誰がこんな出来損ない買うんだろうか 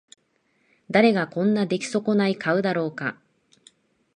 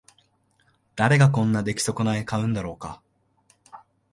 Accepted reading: second